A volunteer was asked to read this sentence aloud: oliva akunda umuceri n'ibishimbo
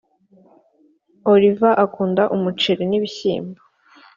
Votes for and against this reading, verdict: 4, 0, accepted